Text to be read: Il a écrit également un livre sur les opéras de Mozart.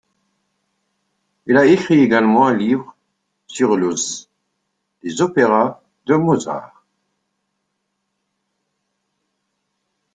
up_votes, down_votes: 0, 2